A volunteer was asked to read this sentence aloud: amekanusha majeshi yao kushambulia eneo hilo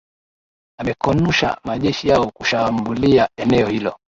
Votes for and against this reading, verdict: 1, 2, rejected